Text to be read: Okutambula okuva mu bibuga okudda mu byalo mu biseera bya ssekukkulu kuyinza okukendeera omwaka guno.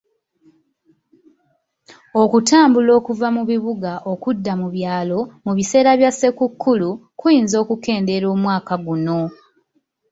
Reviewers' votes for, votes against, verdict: 2, 0, accepted